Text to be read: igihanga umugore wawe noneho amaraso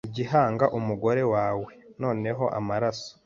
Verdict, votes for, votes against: accepted, 2, 0